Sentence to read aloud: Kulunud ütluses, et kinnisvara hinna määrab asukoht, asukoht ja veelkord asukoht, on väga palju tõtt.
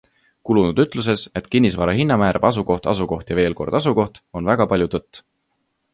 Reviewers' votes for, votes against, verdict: 2, 0, accepted